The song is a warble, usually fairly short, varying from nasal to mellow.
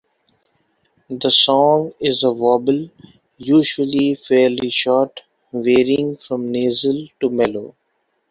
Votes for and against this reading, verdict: 2, 1, accepted